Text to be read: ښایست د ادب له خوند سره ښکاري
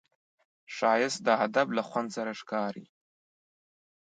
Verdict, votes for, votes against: accepted, 2, 0